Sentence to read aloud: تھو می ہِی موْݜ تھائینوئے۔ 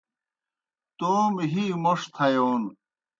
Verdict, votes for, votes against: rejected, 0, 2